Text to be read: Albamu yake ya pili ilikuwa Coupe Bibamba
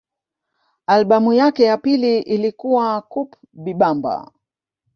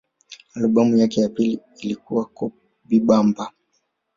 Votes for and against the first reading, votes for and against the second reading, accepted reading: 2, 0, 0, 2, first